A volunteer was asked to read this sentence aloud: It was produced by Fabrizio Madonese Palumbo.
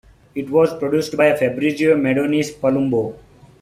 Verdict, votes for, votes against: rejected, 0, 2